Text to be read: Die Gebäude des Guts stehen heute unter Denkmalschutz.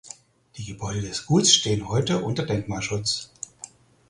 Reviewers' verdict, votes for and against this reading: accepted, 4, 2